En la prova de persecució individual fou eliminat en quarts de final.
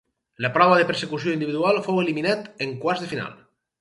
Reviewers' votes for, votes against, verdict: 2, 4, rejected